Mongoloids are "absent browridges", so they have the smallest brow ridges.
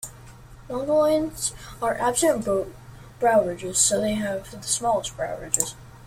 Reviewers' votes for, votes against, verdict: 0, 2, rejected